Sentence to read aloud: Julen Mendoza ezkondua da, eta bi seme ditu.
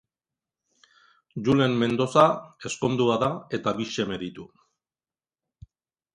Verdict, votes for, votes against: accepted, 2, 1